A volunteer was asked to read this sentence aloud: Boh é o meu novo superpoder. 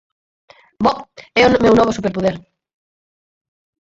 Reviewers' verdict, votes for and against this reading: rejected, 0, 4